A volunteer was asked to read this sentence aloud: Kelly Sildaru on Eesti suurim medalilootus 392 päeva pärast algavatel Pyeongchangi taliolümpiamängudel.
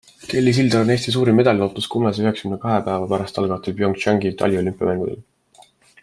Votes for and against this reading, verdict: 0, 2, rejected